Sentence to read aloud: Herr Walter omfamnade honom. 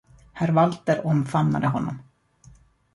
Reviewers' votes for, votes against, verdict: 2, 0, accepted